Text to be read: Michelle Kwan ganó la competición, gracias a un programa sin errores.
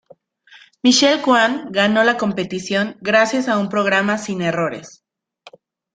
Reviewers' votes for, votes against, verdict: 2, 0, accepted